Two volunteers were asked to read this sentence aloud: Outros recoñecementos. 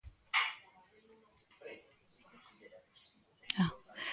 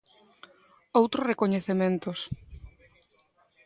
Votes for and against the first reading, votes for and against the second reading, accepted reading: 0, 2, 2, 0, second